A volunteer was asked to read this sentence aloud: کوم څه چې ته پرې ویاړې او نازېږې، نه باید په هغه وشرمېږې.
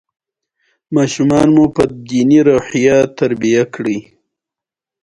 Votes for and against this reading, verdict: 0, 2, rejected